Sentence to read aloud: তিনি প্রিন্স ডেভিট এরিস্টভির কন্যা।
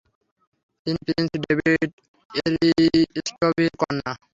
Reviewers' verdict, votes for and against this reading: rejected, 0, 3